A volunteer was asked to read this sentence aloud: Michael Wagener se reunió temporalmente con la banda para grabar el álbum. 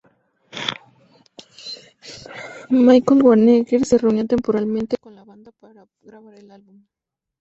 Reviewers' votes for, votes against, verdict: 0, 2, rejected